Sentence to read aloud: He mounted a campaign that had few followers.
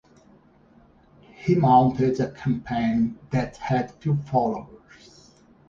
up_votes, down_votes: 0, 2